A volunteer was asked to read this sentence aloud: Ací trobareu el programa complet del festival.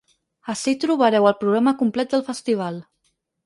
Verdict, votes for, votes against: accepted, 6, 0